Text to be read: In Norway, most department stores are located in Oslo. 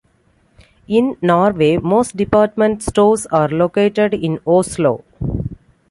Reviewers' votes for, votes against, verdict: 2, 0, accepted